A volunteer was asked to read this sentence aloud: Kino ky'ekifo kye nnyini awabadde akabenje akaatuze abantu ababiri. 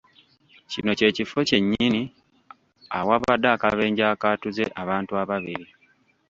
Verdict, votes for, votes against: rejected, 1, 2